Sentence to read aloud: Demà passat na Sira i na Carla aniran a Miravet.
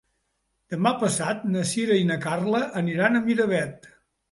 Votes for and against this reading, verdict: 2, 0, accepted